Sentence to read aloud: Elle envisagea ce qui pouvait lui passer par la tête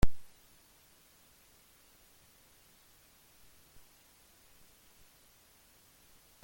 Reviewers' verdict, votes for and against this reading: rejected, 0, 2